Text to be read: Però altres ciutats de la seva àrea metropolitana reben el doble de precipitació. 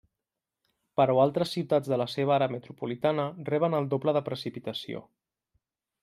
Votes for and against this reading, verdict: 1, 2, rejected